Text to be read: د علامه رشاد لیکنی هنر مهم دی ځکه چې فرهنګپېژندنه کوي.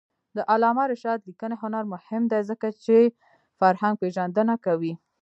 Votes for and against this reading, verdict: 2, 3, rejected